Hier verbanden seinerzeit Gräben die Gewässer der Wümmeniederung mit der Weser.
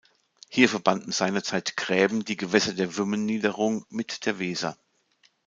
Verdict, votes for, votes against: accepted, 2, 0